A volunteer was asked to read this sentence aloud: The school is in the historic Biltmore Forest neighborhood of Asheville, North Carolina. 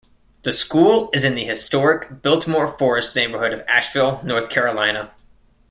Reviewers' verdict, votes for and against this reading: accepted, 2, 0